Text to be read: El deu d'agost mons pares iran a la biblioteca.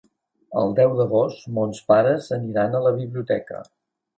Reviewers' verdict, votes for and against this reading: rejected, 1, 2